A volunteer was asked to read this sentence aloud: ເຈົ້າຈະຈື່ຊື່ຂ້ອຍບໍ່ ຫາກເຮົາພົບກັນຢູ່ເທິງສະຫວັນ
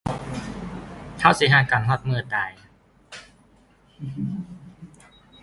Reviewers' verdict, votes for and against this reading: rejected, 1, 2